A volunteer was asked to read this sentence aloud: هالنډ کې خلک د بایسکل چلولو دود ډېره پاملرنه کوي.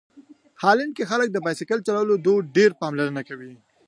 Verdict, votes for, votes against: rejected, 1, 2